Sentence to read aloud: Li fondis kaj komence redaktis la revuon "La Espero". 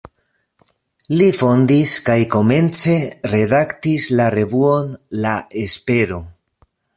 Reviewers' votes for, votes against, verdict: 1, 2, rejected